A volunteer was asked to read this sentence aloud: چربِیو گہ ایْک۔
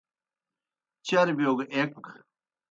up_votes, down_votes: 2, 0